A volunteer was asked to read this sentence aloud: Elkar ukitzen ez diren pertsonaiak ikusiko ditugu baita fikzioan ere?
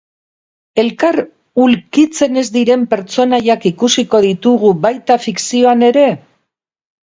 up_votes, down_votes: 2, 2